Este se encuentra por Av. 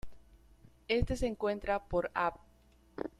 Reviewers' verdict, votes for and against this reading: rejected, 1, 2